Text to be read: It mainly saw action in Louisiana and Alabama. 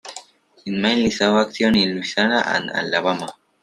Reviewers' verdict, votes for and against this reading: rejected, 1, 2